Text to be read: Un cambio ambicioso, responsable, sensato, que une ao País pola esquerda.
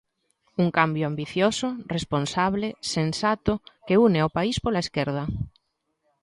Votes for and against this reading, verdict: 2, 0, accepted